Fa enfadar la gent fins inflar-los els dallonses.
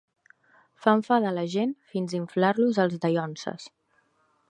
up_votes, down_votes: 2, 0